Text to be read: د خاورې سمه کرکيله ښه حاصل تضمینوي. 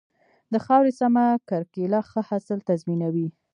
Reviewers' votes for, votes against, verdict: 1, 2, rejected